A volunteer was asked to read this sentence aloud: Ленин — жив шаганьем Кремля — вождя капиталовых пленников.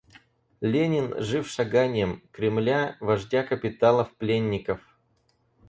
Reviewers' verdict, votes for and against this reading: rejected, 0, 4